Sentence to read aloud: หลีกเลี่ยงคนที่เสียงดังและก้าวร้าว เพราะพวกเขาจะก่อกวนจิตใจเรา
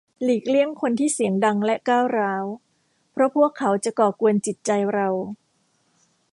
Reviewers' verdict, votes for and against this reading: accepted, 2, 0